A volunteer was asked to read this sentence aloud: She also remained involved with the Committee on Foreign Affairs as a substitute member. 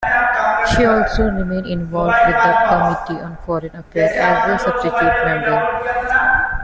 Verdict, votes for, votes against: rejected, 1, 2